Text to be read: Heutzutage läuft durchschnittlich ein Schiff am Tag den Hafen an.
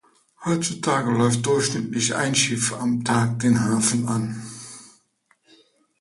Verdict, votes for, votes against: accepted, 2, 0